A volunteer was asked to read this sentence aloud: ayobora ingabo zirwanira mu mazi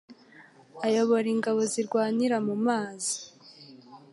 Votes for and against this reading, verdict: 2, 0, accepted